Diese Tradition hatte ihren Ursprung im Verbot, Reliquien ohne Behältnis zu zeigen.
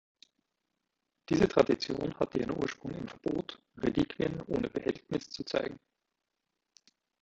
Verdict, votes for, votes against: rejected, 1, 2